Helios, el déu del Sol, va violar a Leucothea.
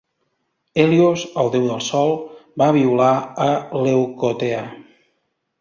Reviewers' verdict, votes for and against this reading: accepted, 2, 0